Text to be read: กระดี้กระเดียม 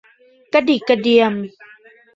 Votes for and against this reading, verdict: 0, 2, rejected